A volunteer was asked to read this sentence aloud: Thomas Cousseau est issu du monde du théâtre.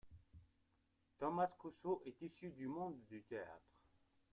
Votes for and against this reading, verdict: 2, 1, accepted